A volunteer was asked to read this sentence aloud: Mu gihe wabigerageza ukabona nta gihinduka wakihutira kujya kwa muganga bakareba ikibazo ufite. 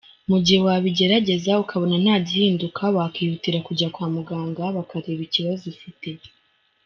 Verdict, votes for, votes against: accepted, 3, 2